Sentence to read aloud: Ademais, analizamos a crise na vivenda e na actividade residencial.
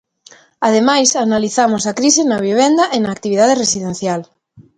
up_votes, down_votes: 2, 0